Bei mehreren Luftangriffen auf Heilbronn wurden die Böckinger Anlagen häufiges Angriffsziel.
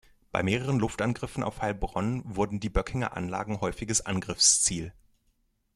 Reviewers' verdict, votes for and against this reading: accepted, 2, 0